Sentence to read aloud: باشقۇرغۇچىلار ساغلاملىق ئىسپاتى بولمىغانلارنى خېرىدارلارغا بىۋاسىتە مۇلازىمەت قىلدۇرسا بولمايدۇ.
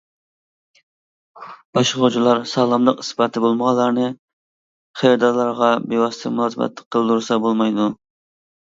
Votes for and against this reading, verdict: 0, 2, rejected